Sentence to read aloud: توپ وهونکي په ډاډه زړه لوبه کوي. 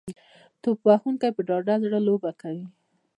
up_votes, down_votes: 0, 2